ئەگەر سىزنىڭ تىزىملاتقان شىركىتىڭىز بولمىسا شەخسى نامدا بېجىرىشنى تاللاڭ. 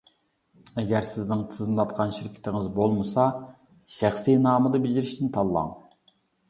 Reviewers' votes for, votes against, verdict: 0, 2, rejected